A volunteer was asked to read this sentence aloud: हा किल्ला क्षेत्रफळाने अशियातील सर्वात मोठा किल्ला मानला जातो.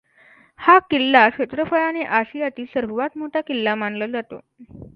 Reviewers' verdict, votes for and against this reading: accepted, 2, 0